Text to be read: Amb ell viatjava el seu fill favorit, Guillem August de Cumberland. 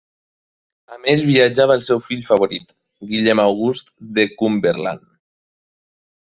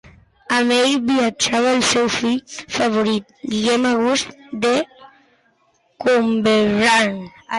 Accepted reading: first